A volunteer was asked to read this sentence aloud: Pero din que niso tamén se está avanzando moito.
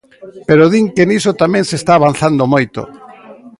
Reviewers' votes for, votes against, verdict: 2, 0, accepted